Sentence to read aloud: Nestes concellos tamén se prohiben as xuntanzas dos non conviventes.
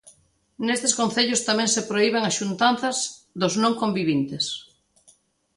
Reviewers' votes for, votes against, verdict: 0, 2, rejected